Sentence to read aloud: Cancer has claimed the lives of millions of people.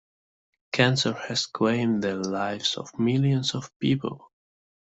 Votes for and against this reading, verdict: 2, 0, accepted